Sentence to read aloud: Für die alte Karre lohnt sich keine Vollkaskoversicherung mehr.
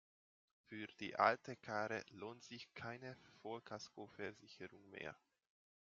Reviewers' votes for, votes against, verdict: 2, 0, accepted